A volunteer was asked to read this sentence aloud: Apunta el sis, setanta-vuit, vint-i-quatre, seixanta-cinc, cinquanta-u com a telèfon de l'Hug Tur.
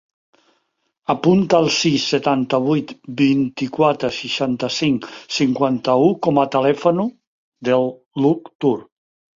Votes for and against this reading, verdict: 1, 2, rejected